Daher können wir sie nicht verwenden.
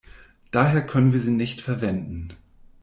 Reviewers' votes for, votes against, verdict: 2, 0, accepted